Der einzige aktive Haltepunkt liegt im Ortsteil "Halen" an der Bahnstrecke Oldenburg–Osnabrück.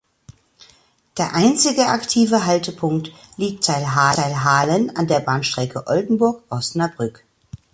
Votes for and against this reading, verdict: 0, 2, rejected